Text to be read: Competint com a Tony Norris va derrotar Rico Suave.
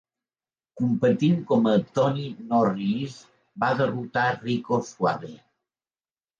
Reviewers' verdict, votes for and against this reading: accepted, 2, 0